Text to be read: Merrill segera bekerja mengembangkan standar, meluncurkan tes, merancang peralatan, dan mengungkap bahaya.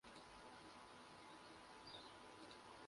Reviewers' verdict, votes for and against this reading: rejected, 0, 2